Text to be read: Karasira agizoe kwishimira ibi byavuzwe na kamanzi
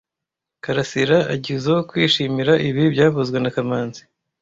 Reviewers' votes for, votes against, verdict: 2, 0, accepted